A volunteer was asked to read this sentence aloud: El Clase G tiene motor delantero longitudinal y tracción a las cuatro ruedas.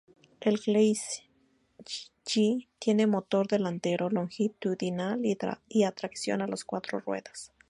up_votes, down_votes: 0, 2